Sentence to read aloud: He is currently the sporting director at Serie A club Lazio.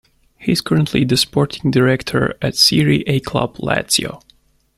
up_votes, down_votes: 2, 1